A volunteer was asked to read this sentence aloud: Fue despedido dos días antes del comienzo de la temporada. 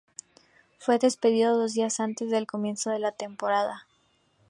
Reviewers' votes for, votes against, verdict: 2, 0, accepted